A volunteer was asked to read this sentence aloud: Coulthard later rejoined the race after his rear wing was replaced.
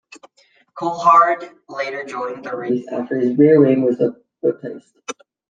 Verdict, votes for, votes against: rejected, 1, 2